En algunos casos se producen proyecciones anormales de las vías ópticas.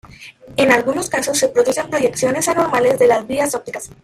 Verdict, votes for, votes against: rejected, 0, 2